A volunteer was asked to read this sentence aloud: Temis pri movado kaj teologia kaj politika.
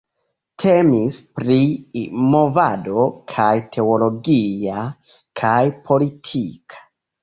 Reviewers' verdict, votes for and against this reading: accepted, 2, 1